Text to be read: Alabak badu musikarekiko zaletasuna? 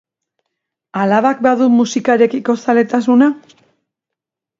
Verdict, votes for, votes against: accepted, 2, 0